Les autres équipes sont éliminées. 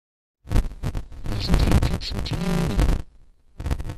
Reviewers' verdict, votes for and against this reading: rejected, 1, 2